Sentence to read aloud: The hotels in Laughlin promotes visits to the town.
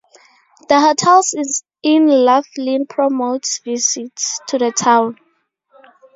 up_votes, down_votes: 2, 0